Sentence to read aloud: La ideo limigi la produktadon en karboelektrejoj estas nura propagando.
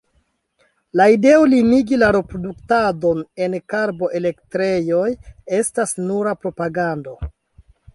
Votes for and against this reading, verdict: 2, 3, rejected